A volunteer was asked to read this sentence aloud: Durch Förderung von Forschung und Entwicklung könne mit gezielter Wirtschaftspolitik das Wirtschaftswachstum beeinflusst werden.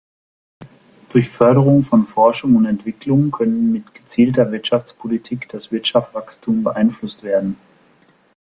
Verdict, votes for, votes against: accepted, 2, 0